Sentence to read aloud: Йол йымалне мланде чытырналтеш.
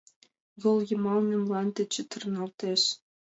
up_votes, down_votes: 2, 0